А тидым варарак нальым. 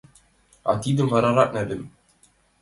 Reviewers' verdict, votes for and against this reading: accepted, 2, 1